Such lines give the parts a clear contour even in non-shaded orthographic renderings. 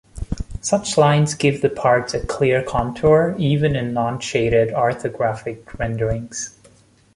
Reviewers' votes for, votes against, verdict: 1, 2, rejected